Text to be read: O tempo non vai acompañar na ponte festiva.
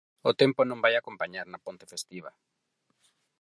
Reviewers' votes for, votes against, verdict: 4, 0, accepted